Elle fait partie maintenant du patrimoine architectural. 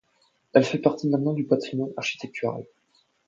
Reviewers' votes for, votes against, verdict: 2, 0, accepted